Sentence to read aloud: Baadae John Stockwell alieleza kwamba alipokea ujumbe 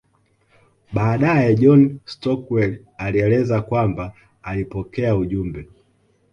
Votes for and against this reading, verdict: 2, 1, accepted